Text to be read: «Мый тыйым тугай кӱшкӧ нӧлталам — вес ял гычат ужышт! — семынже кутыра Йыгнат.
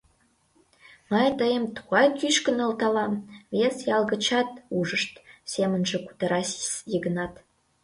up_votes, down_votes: 1, 2